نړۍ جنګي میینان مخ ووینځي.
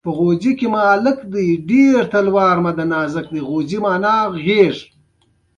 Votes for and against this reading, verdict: 2, 0, accepted